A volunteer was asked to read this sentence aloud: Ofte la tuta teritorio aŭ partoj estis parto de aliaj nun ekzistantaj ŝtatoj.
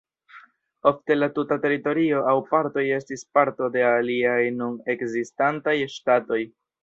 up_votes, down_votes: 2, 0